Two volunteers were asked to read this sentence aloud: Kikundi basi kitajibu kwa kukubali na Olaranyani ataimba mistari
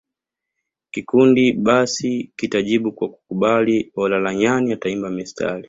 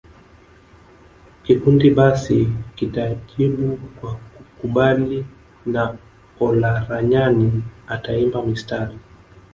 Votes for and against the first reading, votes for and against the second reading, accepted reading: 2, 0, 0, 2, first